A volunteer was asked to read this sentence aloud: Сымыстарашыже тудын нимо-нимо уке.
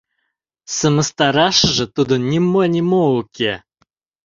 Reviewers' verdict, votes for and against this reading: accepted, 2, 0